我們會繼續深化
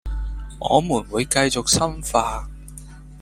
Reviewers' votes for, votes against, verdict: 1, 2, rejected